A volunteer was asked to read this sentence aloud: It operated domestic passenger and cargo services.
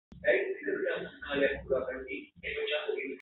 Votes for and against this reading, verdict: 0, 4, rejected